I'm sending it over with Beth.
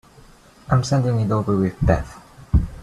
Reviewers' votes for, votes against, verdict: 1, 2, rejected